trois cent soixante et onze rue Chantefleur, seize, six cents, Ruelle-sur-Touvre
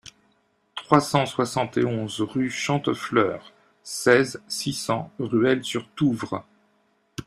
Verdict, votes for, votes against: accepted, 2, 0